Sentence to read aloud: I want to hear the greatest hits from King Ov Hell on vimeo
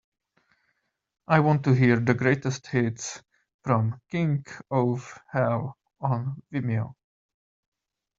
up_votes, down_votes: 2, 0